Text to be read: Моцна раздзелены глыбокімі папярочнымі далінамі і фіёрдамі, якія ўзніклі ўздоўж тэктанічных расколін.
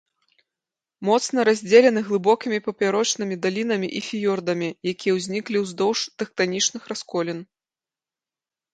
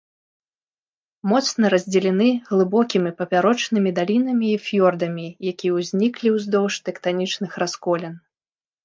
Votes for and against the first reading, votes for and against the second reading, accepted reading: 2, 0, 1, 2, first